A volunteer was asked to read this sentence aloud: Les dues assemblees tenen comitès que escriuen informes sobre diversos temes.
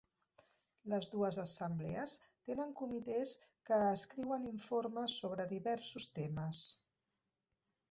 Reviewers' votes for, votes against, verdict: 1, 2, rejected